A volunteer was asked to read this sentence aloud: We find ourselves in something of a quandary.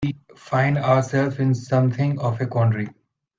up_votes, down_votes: 2, 0